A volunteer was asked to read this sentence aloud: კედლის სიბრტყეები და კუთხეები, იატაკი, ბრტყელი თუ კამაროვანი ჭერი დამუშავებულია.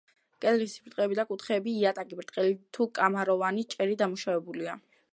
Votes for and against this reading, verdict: 1, 2, rejected